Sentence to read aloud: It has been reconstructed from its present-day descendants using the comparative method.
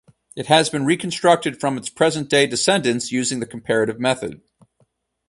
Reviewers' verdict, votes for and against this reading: accepted, 4, 0